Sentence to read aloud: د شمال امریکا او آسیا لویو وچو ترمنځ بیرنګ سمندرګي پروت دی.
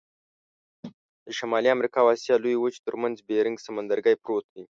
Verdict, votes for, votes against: rejected, 0, 2